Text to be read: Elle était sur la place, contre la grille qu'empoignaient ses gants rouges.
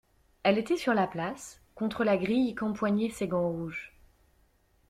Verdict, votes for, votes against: accepted, 2, 0